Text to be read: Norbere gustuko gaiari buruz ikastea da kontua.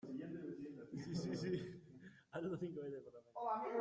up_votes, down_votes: 0, 2